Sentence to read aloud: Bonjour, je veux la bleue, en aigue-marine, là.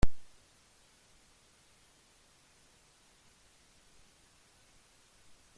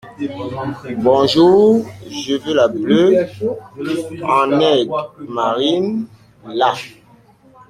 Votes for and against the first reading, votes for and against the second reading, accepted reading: 0, 2, 2, 0, second